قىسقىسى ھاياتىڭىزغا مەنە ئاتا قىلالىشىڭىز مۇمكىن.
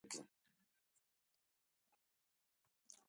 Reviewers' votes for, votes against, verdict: 0, 2, rejected